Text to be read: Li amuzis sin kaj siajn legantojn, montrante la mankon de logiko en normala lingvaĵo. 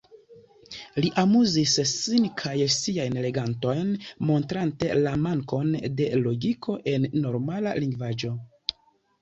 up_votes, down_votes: 0, 2